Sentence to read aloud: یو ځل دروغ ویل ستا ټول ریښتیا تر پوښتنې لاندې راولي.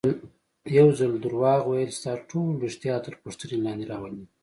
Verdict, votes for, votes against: accepted, 2, 0